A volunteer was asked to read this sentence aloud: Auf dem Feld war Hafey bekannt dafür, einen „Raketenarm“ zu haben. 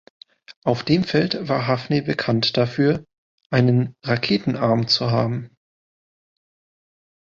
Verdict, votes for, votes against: rejected, 1, 2